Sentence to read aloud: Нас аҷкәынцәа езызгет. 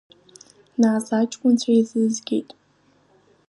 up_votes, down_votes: 2, 1